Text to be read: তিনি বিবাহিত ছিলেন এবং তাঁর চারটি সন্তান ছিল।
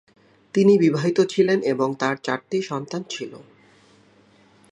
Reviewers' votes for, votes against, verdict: 8, 1, accepted